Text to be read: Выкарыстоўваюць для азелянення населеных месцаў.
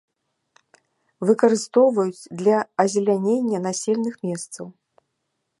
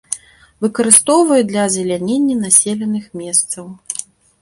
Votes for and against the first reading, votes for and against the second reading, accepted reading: 0, 2, 3, 0, second